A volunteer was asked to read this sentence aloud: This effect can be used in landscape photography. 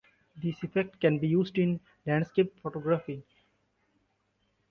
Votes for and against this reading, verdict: 2, 1, accepted